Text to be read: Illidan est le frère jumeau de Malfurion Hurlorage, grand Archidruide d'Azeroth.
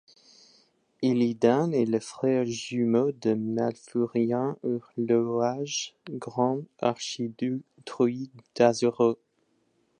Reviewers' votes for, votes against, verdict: 1, 2, rejected